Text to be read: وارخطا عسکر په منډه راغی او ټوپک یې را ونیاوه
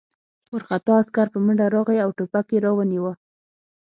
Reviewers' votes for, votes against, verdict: 6, 3, accepted